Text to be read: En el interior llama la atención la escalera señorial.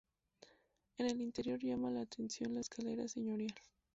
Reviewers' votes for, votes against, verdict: 2, 2, rejected